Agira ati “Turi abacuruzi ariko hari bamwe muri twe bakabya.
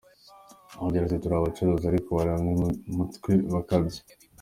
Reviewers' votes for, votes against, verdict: 1, 2, rejected